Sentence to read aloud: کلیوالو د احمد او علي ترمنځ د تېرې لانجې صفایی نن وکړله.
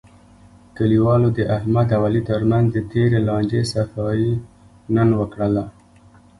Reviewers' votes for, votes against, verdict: 1, 2, rejected